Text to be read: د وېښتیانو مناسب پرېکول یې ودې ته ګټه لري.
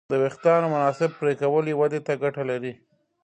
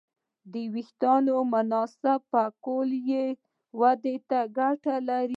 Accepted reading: first